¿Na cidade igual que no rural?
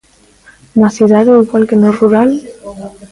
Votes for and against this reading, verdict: 1, 2, rejected